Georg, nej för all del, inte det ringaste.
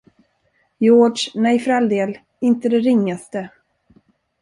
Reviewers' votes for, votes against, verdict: 1, 2, rejected